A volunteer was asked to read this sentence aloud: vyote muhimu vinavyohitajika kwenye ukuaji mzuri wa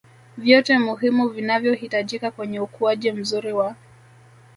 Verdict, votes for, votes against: accepted, 2, 0